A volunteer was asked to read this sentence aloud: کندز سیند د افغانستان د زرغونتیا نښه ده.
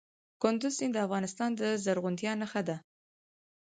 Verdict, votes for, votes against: accepted, 4, 0